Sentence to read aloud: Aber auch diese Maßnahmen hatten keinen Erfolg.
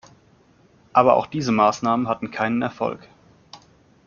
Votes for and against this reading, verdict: 2, 0, accepted